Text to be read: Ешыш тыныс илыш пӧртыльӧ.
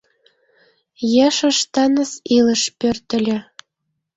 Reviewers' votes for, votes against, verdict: 2, 0, accepted